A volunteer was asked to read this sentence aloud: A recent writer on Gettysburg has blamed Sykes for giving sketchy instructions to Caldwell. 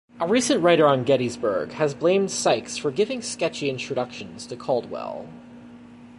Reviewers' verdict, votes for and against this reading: rejected, 0, 2